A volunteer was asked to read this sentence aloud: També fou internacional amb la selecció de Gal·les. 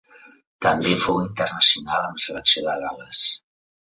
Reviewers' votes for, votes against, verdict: 0, 2, rejected